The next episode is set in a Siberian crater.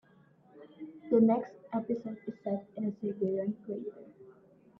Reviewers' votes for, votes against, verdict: 0, 2, rejected